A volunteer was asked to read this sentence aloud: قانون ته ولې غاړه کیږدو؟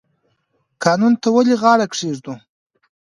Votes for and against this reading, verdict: 2, 0, accepted